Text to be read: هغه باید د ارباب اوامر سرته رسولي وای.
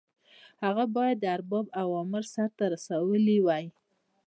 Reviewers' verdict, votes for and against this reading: rejected, 0, 2